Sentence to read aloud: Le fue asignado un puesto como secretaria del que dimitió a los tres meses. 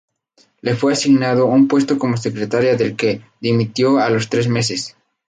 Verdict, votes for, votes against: rejected, 0, 2